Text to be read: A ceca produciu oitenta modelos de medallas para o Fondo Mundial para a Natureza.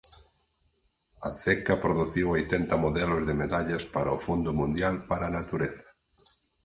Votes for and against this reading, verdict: 4, 0, accepted